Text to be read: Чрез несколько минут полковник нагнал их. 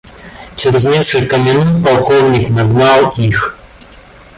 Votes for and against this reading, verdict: 0, 2, rejected